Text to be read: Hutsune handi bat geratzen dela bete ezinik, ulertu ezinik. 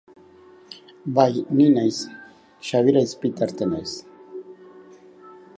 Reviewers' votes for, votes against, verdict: 0, 2, rejected